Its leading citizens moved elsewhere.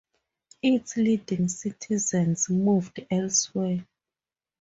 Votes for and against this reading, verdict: 2, 0, accepted